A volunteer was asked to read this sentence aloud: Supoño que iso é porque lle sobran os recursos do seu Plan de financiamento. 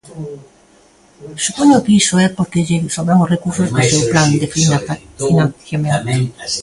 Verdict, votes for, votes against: rejected, 0, 2